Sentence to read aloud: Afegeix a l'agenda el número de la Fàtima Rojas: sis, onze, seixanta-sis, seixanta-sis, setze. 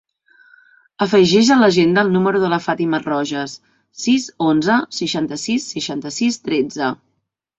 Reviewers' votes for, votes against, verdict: 0, 2, rejected